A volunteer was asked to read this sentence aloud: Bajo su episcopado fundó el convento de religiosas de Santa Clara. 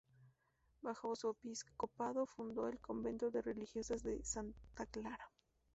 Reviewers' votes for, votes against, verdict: 2, 0, accepted